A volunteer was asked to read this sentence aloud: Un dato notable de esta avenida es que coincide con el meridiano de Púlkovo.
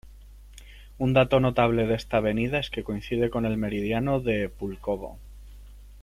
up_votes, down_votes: 1, 2